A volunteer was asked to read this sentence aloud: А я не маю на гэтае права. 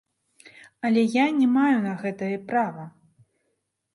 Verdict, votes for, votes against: rejected, 0, 2